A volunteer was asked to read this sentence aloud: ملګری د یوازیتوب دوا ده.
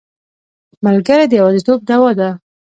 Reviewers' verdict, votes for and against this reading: accepted, 2, 0